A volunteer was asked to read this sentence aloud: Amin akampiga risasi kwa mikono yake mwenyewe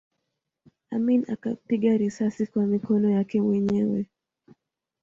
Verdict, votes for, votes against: accepted, 2, 0